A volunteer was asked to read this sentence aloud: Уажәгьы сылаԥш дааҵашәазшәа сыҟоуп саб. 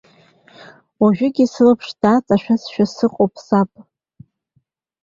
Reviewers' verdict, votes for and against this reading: accepted, 2, 0